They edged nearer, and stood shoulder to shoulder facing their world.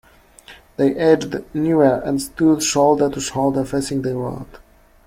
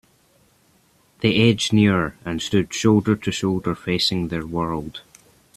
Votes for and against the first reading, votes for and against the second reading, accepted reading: 0, 2, 2, 0, second